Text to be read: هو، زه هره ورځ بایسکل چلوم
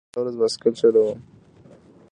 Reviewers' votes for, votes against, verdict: 2, 0, accepted